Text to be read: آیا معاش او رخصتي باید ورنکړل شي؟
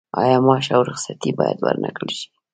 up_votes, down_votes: 0, 2